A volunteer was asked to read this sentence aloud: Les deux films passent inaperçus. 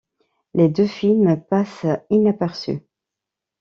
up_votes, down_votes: 2, 0